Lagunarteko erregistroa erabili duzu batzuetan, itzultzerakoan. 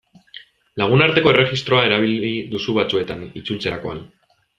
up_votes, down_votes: 2, 0